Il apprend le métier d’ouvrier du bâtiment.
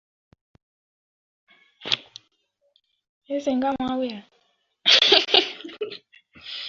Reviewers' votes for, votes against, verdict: 0, 2, rejected